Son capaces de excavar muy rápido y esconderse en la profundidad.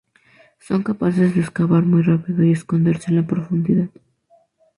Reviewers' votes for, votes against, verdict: 2, 0, accepted